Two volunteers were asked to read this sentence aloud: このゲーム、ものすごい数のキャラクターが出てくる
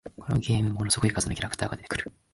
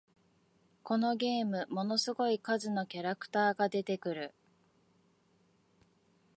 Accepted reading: second